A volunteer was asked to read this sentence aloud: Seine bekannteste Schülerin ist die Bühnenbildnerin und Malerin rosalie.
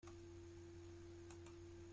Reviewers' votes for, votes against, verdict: 0, 2, rejected